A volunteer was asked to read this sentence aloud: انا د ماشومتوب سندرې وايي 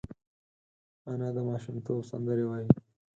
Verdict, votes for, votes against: accepted, 4, 0